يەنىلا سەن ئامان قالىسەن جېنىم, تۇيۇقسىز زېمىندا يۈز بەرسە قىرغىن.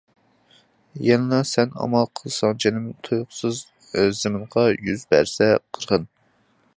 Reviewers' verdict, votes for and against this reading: rejected, 0, 2